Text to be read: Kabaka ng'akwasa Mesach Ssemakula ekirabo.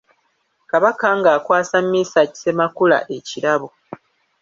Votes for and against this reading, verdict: 1, 2, rejected